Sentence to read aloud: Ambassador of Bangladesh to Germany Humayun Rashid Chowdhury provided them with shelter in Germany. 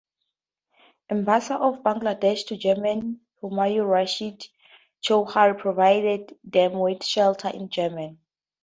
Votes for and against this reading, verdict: 0, 4, rejected